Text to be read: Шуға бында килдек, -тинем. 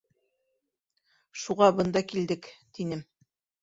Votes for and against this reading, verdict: 2, 1, accepted